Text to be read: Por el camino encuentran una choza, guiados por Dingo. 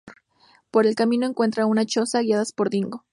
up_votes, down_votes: 0, 2